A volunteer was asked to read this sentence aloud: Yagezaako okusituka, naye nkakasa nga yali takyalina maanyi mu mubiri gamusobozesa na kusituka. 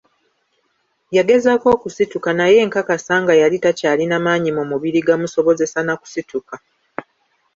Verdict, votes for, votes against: accepted, 2, 0